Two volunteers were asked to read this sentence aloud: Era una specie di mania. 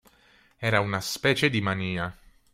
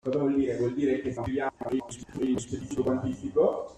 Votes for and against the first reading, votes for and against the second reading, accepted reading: 2, 0, 0, 2, first